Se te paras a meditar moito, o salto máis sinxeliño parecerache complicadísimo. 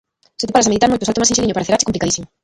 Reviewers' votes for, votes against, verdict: 0, 2, rejected